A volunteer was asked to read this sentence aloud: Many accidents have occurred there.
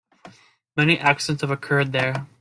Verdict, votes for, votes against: accepted, 2, 0